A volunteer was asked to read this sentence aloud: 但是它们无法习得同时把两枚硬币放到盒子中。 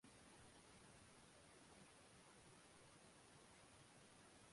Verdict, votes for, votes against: rejected, 0, 2